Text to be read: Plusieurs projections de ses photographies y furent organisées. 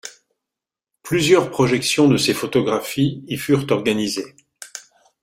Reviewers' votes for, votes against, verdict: 2, 0, accepted